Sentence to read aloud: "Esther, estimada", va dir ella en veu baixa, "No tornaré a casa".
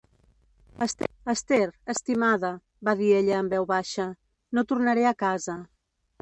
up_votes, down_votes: 1, 2